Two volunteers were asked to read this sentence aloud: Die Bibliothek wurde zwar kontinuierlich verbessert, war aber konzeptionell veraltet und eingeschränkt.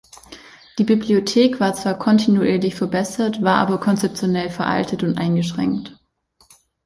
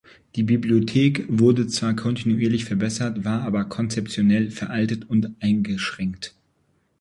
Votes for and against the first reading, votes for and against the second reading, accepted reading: 0, 2, 2, 0, second